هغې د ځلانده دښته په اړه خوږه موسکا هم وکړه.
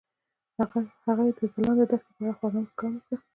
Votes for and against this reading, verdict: 2, 1, accepted